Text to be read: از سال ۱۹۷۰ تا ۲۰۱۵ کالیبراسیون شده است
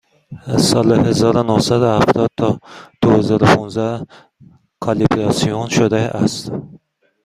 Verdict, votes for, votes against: rejected, 0, 2